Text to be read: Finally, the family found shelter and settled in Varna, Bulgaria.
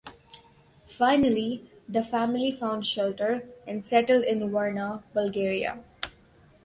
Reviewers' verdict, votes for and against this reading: accepted, 2, 0